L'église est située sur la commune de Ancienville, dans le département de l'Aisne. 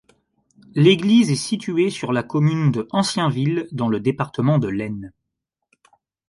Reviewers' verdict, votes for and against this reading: rejected, 1, 2